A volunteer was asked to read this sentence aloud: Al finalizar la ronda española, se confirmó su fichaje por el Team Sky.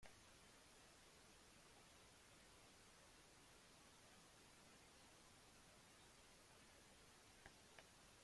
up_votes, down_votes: 0, 2